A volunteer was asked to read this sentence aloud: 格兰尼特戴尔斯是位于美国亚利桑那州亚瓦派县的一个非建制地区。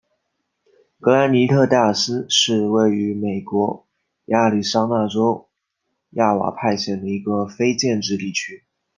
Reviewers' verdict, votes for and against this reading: accepted, 2, 0